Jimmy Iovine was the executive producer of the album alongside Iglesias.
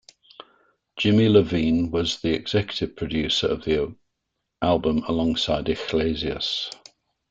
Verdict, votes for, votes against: rejected, 0, 2